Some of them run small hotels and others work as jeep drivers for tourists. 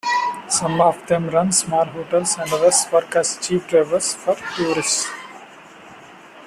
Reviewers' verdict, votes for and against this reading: accepted, 2, 1